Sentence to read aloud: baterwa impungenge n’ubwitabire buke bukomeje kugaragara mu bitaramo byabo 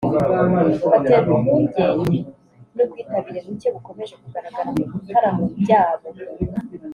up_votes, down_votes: 1, 2